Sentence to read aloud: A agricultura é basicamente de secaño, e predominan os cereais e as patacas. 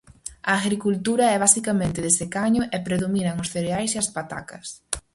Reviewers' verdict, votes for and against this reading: rejected, 2, 2